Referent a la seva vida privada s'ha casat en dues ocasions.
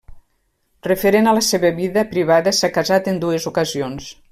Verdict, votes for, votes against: accepted, 3, 0